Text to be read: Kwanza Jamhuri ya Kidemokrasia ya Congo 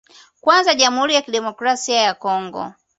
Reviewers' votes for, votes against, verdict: 2, 0, accepted